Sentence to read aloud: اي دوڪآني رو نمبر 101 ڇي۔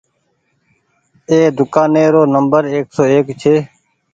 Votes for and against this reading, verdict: 0, 2, rejected